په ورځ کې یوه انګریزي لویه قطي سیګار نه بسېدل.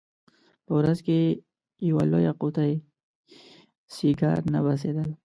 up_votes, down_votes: 0, 2